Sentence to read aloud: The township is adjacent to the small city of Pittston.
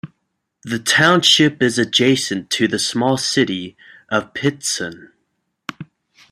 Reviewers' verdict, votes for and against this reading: accepted, 2, 0